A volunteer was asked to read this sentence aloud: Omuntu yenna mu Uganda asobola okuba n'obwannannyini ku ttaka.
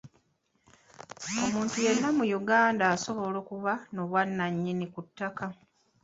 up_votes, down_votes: 0, 2